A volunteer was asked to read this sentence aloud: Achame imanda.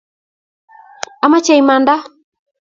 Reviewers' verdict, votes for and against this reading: rejected, 1, 2